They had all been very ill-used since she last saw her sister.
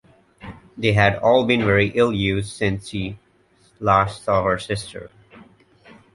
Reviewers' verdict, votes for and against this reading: rejected, 0, 2